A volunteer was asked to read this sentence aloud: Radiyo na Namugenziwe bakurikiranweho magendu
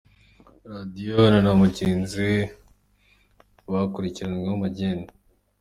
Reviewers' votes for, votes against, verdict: 3, 1, accepted